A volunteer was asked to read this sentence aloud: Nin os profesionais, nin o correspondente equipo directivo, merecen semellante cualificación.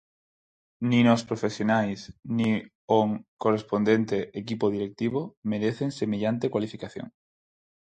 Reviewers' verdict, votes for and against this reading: rejected, 2, 4